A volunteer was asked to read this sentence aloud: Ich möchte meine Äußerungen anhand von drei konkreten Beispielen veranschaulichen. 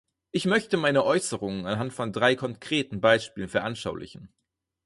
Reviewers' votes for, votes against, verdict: 6, 0, accepted